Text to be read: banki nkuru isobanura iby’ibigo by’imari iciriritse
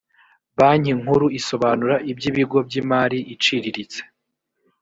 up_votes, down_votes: 2, 0